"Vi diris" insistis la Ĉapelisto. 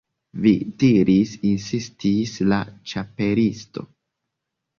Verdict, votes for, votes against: accepted, 2, 0